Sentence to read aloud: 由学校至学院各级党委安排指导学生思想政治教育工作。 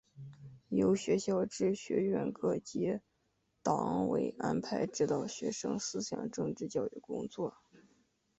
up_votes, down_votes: 3, 0